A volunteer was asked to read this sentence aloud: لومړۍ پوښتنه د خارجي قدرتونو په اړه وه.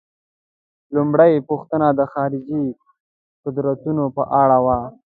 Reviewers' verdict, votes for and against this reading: accepted, 2, 0